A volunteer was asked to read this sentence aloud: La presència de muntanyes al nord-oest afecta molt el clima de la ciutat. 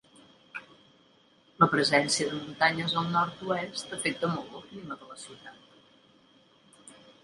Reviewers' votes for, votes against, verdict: 0, 2, rejected